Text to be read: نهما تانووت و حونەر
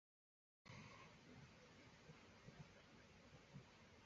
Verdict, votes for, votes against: rejected, 0, 2